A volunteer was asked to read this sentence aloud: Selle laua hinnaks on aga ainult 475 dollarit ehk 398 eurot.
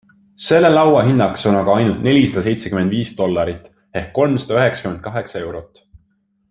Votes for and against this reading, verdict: 0, 2, rejected